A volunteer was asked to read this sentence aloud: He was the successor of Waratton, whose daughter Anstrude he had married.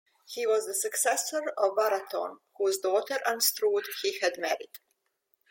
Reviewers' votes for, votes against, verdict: 2, 1, accepted